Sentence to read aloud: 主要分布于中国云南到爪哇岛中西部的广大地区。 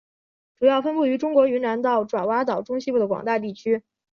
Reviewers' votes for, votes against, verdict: 3, 0, accepted